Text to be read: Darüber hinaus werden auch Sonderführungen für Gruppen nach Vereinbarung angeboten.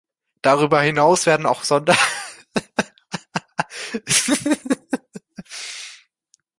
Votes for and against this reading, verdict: 0, 2, rejected